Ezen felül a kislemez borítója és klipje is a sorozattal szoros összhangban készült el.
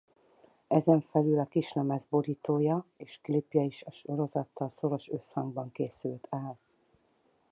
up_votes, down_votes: 4, 0